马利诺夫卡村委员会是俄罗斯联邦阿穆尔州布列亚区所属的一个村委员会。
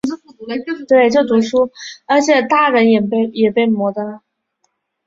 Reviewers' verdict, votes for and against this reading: rejected, 0, 4